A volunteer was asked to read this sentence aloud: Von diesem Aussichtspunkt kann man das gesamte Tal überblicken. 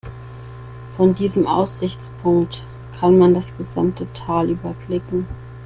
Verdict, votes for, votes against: accepted, 2, 0